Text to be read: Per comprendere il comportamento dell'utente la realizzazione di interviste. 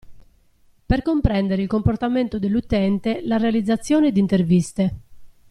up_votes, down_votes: 2, 1